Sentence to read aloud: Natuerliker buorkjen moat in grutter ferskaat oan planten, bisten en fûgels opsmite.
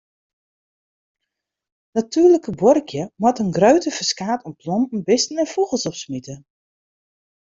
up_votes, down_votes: 1, 2